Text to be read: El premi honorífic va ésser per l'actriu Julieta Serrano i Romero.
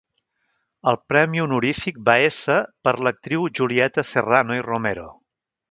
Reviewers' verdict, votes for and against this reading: rejected, 1, 2